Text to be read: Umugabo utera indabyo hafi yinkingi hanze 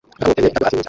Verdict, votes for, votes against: rejected, 0, 2